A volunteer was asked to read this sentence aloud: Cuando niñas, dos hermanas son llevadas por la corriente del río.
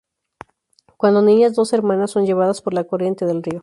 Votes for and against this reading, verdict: 2, 2, rejected